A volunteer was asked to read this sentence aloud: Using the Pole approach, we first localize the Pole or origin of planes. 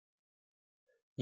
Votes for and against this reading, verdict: 0, 2, rejected